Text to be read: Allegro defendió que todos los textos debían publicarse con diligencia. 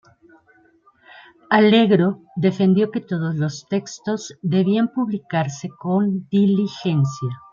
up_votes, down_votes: 0, 2